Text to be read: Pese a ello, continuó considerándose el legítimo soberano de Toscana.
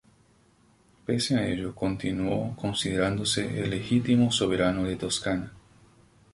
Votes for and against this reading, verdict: 2, 0, accepted